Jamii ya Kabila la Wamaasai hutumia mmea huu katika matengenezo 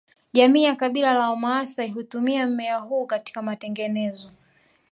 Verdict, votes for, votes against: rejected, 1, 2